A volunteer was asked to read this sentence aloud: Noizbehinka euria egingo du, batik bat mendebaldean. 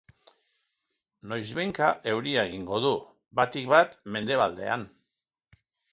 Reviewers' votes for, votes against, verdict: 2, 0, accepted